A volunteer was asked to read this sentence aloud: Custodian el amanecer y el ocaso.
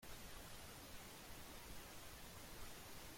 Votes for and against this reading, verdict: 0, 2, rejected